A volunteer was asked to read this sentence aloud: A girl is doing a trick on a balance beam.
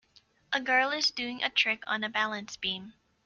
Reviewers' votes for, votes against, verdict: 2, 0, accepted